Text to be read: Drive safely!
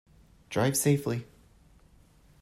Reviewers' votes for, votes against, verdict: 2, 0, accepted